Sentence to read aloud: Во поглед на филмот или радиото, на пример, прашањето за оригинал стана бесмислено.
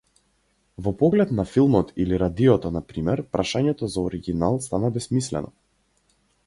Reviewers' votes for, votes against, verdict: 4, 0, accepted